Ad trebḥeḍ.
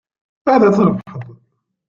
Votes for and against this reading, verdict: 0, 2, rejected